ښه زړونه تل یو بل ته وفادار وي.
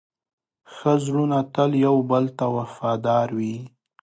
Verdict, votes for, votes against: accepted, 2, 0